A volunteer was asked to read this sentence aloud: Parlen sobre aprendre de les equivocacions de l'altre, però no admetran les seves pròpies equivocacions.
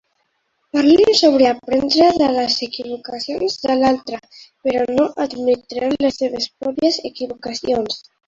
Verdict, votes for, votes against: rejected, 1, 2